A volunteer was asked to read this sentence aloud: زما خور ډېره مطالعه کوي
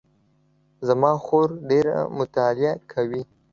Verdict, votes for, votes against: accepted, 2, 0